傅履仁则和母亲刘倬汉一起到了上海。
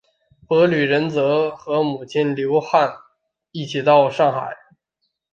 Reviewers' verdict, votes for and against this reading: rejected, 1, 4